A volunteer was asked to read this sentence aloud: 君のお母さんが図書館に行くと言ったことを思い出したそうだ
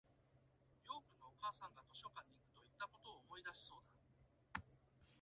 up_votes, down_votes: 2, 5